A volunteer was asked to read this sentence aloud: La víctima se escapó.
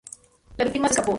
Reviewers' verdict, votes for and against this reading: rejected, 0, 4